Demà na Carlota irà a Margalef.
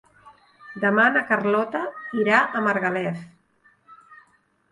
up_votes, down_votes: 3, 0